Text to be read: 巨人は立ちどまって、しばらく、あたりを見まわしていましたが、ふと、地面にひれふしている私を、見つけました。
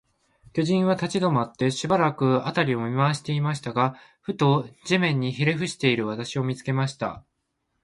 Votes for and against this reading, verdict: 6, 6, rejected